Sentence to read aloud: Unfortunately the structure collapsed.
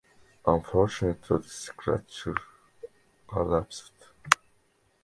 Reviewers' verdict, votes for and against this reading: accepted, 2, 0